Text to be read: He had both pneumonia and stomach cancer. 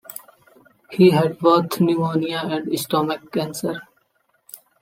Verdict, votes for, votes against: accepted, 2, 1